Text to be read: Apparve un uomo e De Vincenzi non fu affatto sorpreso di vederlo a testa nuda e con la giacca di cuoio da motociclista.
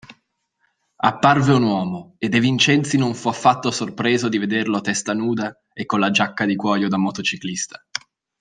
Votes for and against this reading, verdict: 2, 1, accepted